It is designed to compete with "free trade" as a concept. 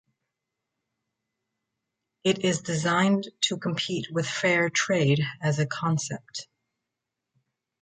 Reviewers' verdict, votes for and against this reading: rejected, 0, 2